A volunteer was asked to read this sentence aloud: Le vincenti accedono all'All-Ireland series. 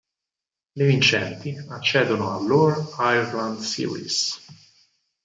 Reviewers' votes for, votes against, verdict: 4, 0, accepted